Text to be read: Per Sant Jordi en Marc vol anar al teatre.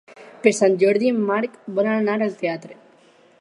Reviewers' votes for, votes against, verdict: 4, 0, accepted